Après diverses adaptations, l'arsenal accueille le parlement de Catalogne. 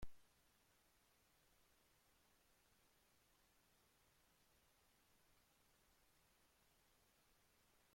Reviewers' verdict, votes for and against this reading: rejected, 0, 2